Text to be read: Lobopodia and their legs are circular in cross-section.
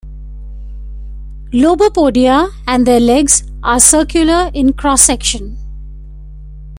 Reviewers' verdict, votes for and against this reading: accepted, 2, 0